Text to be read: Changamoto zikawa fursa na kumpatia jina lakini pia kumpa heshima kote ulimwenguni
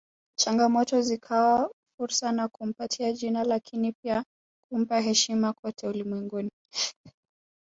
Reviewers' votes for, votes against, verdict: 1, 2, rejected